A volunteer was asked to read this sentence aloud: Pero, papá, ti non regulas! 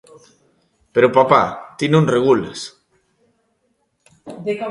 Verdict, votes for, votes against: rejected, 1, 2